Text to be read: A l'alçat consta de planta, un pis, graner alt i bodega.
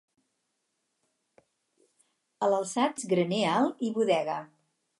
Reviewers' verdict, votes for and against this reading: rejected, 0, 4